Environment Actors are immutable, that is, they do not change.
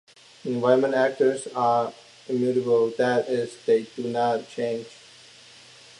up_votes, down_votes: 2, 0